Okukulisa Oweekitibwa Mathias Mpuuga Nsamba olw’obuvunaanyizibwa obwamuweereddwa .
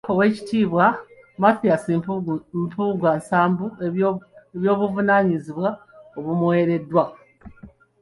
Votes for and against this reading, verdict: 0, 3, rejected